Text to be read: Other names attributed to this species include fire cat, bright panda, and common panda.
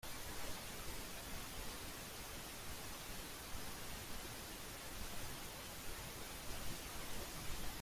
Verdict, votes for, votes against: rejected, 0, 3